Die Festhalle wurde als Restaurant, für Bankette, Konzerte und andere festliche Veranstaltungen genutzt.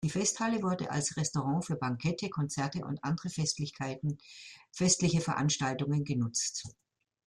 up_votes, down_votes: 0, 2